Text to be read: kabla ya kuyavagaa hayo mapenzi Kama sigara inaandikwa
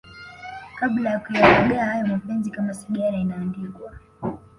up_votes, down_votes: 1, 2